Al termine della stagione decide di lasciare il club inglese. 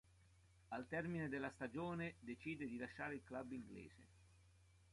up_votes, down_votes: 2, 1